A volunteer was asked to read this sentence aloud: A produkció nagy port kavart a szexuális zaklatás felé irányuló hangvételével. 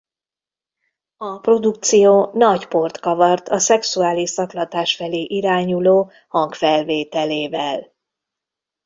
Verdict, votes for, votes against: rejected, 0, 2